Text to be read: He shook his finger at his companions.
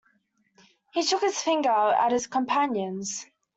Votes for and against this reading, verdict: 2, 1, accepted